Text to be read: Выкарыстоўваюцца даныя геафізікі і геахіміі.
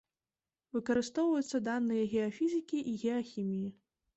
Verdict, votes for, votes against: accepted, 2, 0